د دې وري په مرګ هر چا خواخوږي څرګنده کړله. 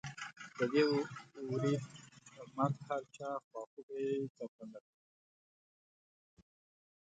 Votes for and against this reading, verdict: 0, 2, rejected